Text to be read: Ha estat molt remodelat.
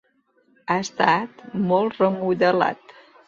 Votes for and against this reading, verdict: 2, 0, accepted